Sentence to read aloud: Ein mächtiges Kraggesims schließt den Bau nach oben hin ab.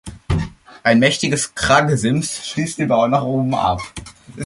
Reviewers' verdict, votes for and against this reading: accepted, 2, 1